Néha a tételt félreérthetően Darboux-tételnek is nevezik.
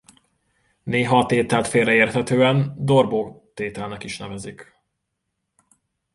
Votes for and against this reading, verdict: 2, 1, accepted